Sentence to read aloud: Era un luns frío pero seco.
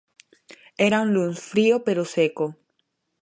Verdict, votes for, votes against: accepted, 2, 0